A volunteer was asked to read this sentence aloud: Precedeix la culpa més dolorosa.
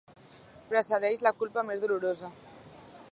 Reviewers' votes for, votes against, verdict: 4, 0, accepted